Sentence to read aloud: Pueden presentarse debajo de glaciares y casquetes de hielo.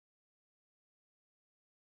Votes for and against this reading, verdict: 0, 2, rejected